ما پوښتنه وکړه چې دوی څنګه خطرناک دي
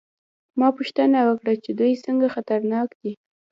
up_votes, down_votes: 1, 2